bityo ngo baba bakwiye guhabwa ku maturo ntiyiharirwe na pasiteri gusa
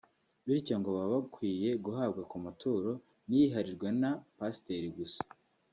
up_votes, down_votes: 2, 0